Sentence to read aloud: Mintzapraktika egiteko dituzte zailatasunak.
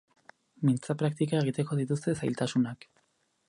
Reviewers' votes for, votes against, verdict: 4, 0, accepted